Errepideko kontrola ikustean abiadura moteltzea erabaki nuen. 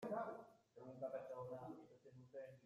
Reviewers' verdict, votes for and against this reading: rejected, 0, 2